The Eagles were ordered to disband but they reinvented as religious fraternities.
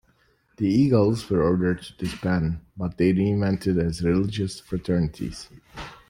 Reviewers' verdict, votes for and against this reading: accepted, 2, 1